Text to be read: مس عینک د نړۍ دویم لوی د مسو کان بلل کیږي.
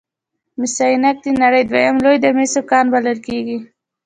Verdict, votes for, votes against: accepted, 2, 0